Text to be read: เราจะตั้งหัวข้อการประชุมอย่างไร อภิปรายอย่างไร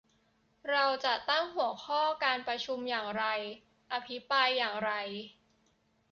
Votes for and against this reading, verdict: 2, 0, accepted